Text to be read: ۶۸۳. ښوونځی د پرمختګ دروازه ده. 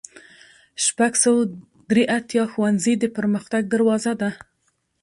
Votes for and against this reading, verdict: 0, 2, rejected